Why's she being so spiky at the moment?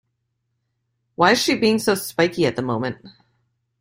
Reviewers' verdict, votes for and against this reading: accepted, 2, 0